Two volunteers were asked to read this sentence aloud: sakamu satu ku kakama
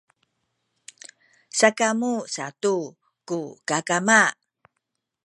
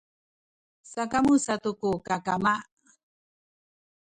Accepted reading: first